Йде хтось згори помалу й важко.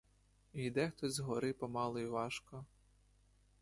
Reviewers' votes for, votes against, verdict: 2, 0, accepted